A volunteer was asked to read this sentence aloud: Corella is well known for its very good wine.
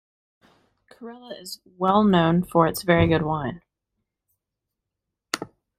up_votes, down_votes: 2, 0